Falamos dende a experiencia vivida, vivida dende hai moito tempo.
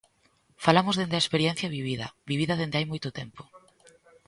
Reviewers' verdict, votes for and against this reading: accepted, 2, 0